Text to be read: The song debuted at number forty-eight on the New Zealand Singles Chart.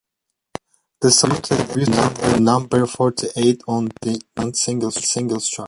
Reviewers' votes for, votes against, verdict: 0, 2, rejected